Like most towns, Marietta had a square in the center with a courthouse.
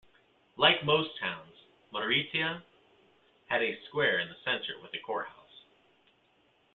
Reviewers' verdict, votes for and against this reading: rejected, 1, 2